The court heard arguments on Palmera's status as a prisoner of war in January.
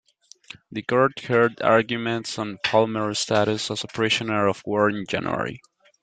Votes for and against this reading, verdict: 2, 1, accepted